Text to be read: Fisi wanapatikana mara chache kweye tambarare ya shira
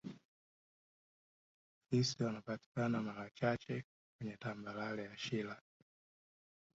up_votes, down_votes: 0, 2